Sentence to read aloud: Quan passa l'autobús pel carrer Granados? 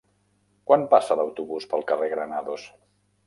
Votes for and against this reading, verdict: 2, 0, accepted